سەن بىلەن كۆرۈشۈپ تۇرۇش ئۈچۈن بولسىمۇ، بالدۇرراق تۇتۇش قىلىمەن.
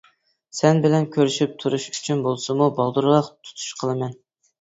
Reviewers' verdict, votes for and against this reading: accepted, 2, 0